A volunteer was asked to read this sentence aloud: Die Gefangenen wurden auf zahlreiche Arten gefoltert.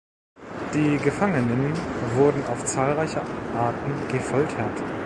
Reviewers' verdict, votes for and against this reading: rejected, 1, 2